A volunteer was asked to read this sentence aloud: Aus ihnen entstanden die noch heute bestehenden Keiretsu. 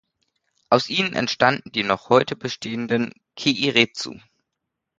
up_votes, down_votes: 1, 2